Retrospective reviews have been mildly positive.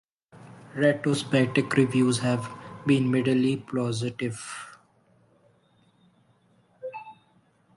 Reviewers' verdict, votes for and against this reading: rejected, 0, 2